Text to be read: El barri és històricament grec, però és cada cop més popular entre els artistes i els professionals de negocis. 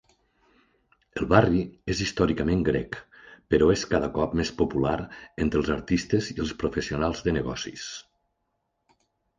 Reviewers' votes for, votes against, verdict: 3, 0, accepted